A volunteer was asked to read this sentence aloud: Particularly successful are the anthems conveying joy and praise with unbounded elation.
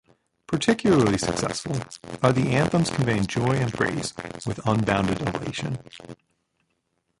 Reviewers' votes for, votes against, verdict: 0, 2, rejected